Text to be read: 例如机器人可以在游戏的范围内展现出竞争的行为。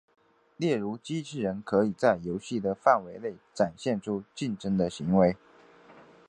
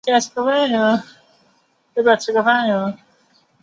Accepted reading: first